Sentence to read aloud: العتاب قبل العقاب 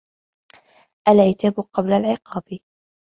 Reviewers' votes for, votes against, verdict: 2, 0, accepted